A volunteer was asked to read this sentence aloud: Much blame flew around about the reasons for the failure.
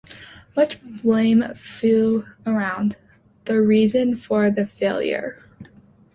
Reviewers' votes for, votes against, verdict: 0, 2, rejected